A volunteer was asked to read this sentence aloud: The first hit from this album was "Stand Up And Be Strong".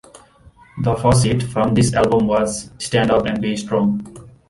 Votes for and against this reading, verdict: 2, 0, accepted